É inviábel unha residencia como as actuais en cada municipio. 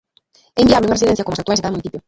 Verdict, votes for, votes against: rejected, 0, 2